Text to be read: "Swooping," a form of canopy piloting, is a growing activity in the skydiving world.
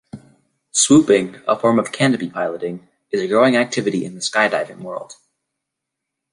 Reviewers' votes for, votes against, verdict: 2, 0, accepted